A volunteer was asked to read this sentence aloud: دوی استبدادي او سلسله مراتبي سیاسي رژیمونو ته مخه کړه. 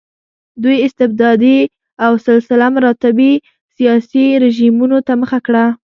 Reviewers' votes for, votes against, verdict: 0, 2, rejected